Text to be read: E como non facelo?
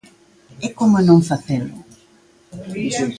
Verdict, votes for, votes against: rejected, 1, 2